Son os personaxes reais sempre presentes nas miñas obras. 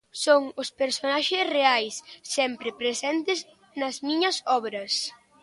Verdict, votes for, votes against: accepted, 2, 0